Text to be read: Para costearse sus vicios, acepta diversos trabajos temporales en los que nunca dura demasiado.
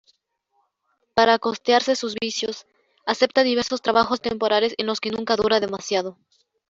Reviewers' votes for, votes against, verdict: 1, 2, rejected